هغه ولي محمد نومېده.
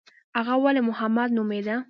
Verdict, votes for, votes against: rejected, 1, 2